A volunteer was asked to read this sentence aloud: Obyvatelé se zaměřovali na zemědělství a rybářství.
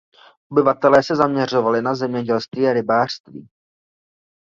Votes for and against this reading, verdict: 0, 2, rejected